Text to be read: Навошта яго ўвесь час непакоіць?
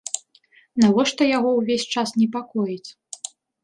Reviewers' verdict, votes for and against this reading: accepted, 2, 0